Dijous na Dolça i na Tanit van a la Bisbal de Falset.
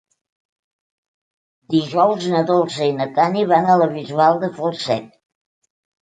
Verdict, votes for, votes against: rejected, 1, 2